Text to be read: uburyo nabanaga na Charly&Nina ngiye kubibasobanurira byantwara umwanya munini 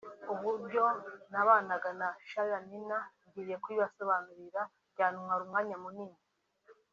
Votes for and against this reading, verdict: 3, 0, accepted